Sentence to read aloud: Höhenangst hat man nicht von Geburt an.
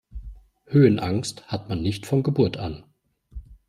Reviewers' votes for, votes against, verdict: 2, 0, accepted